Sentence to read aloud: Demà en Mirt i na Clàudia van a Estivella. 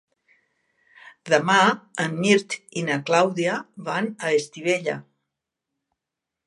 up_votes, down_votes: 3, 0